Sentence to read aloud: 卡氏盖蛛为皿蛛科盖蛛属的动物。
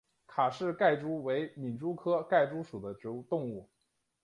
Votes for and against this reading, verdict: 3, 1, accepted